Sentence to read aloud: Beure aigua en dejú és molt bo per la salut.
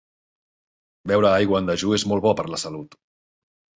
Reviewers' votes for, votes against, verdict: 2, 0, accepted